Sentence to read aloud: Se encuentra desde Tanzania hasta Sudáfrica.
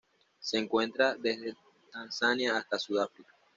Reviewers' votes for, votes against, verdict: 2, 0, accepted